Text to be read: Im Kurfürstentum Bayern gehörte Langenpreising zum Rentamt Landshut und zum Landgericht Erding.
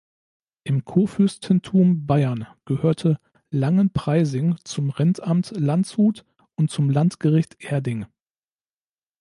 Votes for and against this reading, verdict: 2, 0, accepted